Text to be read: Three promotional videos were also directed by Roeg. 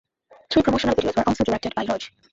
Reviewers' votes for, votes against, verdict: 0, 2, rejected